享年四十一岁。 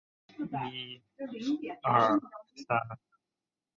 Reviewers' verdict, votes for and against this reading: rejected, 2, 3